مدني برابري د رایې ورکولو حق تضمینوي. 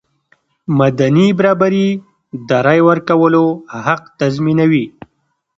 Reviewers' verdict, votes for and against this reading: rejected, 1, 2